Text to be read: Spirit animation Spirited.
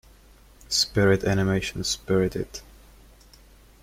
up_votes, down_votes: 2, 0